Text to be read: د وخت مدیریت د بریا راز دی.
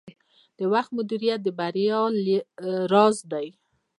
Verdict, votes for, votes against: rejected, 1, 2